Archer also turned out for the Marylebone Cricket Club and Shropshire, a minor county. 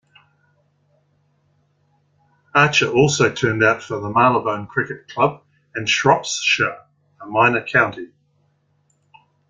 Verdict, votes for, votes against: accepted, 2, 1